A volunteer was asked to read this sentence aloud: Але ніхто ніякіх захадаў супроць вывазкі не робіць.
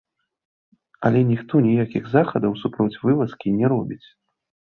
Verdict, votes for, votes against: rejected, 1, 2